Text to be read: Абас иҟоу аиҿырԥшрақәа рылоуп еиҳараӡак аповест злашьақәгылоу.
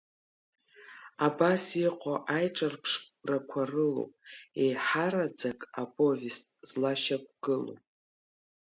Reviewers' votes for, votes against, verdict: 2, 1, accepted